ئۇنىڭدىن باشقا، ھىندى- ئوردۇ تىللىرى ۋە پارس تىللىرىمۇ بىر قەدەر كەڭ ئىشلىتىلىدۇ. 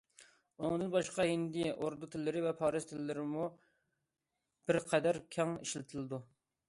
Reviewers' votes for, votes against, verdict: 2, 0, accepted